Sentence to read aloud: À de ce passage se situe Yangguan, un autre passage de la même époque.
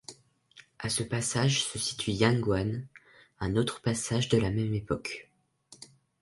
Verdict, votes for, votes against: rejected, 0, 2